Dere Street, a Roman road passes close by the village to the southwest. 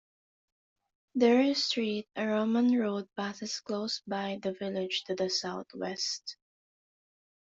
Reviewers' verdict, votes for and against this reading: accepted, 2, 1